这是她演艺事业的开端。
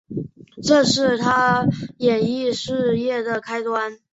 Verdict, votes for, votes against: accepted, 2, 0